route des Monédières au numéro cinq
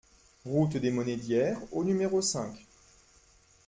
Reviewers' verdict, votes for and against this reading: accepted, 2, 0